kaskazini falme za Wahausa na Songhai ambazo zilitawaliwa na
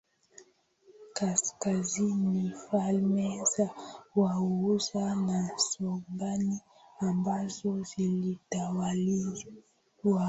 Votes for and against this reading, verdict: 0, 2, rejected